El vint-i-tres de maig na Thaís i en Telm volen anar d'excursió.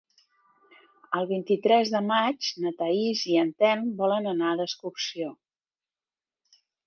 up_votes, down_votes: 3, 0